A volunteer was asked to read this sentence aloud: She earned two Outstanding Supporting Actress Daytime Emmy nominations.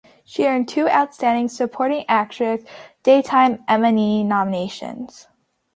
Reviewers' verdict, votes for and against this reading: accepted, 2, 0